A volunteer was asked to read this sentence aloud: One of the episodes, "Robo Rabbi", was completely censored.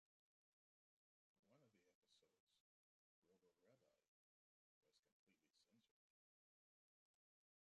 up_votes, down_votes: 0, 2